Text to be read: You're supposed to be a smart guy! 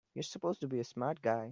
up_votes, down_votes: 2, 0